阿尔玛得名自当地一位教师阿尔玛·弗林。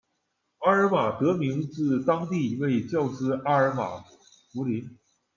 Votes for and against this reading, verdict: 2, 0, accepted